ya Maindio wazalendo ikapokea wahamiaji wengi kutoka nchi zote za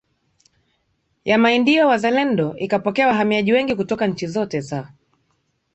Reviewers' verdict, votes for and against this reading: accepted, 5, 0